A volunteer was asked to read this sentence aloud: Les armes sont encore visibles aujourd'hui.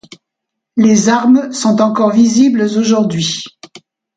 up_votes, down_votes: 2, 0